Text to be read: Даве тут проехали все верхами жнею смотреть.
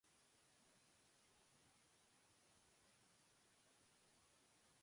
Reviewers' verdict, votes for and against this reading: rejected, 0, 2